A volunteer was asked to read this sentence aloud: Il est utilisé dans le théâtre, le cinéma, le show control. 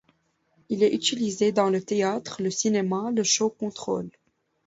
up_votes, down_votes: 1, 2